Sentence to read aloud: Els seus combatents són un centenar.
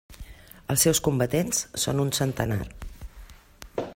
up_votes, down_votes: 3, 0